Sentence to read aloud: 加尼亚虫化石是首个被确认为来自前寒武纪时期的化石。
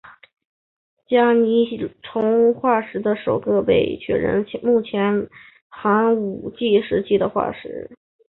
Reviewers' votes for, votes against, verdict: 0, 2, rejected